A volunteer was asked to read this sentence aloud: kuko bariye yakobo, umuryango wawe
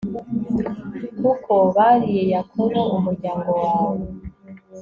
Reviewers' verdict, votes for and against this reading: accepted, 2, 0